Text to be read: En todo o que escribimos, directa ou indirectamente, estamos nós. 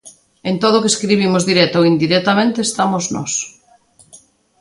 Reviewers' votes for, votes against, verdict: 2, 0, accepted